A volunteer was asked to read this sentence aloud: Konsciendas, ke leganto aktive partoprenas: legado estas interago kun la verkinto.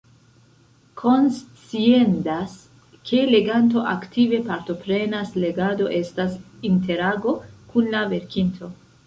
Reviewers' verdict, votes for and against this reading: rejected, 0, 2